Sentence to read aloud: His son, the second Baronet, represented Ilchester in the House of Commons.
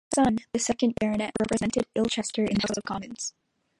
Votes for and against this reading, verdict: 1, 2, rejected